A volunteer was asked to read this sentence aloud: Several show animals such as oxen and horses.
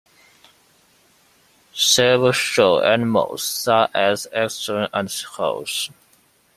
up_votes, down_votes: 0, 2